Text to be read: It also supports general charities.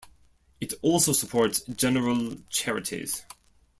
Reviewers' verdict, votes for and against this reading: accepted, 2, 0